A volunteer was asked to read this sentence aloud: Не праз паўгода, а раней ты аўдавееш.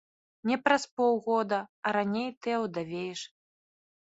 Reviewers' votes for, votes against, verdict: 1, 2, rejected